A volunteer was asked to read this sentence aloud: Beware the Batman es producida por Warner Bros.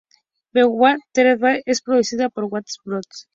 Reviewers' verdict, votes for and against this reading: rejected, 0, 2